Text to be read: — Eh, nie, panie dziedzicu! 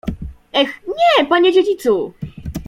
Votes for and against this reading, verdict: 2, 0, accepted